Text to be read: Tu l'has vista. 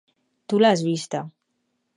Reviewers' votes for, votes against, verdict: 4, 0, accepted